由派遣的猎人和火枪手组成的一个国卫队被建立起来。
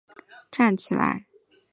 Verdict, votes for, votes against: rejected, 2, 3